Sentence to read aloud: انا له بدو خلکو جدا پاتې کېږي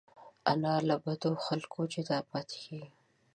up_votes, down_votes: 1, 2